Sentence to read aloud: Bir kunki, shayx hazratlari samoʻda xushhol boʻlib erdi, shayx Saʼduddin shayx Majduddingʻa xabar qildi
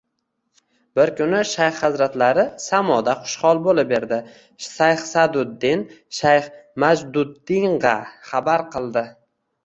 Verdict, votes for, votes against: accepted, 2, 1